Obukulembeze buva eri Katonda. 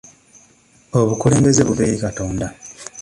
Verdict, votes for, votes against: accepted, 2, 0